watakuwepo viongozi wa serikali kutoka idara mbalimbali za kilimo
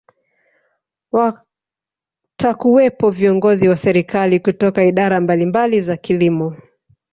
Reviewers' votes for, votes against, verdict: 3, 0, accepted